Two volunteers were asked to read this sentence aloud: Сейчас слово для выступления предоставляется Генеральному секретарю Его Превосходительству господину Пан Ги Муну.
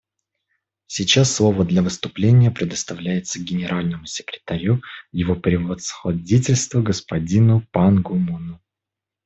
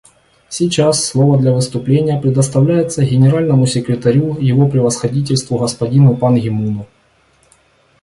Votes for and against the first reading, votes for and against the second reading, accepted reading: 1, 2, 2, 0, second